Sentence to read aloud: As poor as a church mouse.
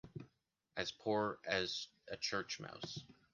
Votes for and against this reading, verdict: 2, 1, accepted